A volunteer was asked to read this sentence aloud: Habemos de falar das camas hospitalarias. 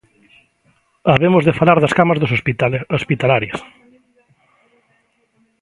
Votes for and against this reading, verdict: 0, 2, rejected